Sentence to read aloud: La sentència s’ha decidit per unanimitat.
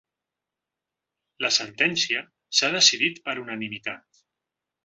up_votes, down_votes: 2, 0